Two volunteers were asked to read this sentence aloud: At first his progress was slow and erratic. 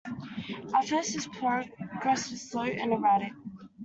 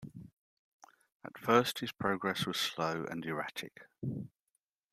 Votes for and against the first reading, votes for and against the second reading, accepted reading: 1, 2, 2, 0, second